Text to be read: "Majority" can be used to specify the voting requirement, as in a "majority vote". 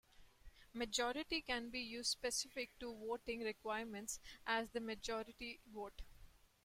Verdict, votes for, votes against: rejected, 0, 2